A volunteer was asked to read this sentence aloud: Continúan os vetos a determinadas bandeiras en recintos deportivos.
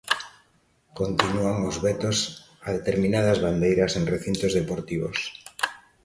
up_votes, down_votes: 2, 0